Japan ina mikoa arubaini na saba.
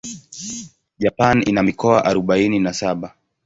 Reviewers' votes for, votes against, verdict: 7, 2, accepted